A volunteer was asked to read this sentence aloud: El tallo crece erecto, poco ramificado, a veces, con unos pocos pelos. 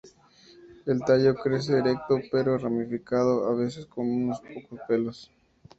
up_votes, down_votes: 0, 2